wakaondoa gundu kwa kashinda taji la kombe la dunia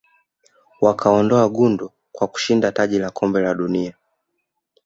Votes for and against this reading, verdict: 3, 0, accepted